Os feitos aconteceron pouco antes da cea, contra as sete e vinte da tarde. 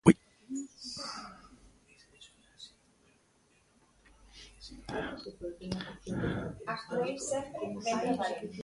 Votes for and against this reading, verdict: 0, 2, rejected